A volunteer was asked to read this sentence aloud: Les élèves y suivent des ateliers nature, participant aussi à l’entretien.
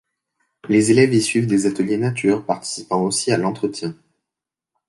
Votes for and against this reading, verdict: 2, 0, accepted